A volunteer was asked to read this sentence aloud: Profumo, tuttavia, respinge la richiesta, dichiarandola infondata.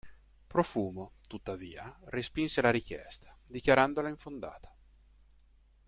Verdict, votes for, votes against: rejected, 0, 2